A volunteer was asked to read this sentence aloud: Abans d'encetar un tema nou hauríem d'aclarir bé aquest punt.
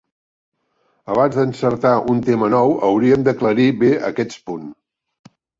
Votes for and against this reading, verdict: 1, 3, rejected